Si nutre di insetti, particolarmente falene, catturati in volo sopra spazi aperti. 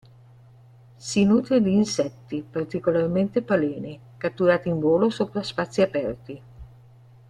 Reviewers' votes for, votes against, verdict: 1, 2, rejected